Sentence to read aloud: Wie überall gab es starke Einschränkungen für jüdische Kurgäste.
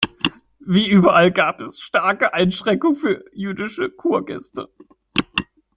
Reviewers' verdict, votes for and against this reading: rejected, 1, 2